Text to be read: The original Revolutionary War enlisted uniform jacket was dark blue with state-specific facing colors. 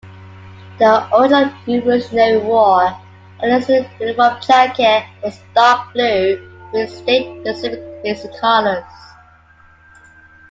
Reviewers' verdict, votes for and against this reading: rejected, 1, 2